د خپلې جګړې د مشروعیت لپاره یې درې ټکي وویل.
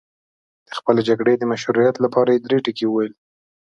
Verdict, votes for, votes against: accepted, 2, 0